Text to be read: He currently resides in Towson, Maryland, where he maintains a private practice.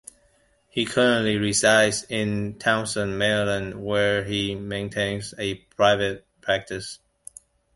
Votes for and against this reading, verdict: 2, 0, accepted